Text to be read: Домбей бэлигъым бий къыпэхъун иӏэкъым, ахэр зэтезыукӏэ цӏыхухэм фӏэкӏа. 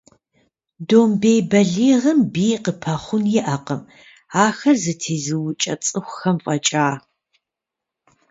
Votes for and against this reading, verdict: 2, 0, accepted